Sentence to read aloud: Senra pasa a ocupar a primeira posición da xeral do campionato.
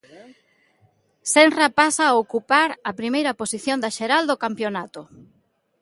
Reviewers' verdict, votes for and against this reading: accepted, 2, 0